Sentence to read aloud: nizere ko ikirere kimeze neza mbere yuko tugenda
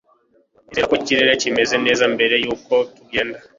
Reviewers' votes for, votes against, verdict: 2, 0, accepted